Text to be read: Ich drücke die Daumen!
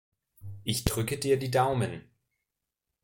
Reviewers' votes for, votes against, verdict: 0, 2, rejected